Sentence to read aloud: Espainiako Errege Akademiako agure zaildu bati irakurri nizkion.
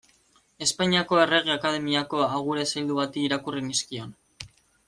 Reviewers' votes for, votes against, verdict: 2, 0, accepted